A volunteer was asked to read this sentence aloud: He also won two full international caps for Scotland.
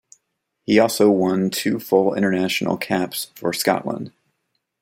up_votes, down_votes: 1, 2